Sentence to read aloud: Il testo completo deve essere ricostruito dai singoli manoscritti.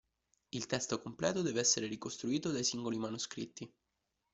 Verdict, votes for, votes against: accepted, 2, 0